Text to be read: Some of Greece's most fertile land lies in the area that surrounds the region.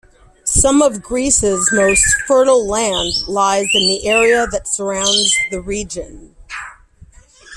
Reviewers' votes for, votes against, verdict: 1, 2, rejected